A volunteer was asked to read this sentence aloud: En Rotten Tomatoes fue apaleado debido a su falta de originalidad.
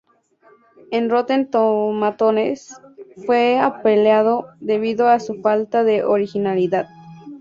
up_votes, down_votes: 2, 0